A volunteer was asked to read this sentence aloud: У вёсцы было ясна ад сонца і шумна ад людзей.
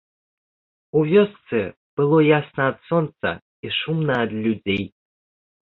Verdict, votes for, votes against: accepted, 2, 0